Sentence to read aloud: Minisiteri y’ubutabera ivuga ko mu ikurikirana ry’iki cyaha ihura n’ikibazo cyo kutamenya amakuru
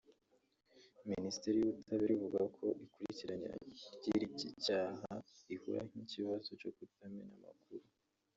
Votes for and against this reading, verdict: 0, 3, rejected